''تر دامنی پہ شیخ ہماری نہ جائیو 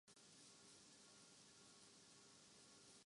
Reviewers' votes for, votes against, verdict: 0, 4, rejected